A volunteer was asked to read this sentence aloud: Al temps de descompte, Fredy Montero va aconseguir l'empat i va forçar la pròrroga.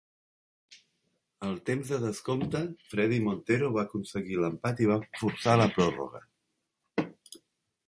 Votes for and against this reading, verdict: 2, 0, accepted